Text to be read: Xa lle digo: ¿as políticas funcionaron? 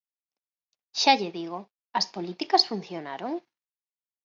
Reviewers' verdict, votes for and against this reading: accepted, 4, 0